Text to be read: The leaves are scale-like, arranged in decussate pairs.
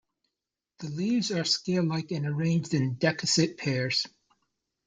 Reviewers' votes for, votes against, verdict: 2, 0, accepted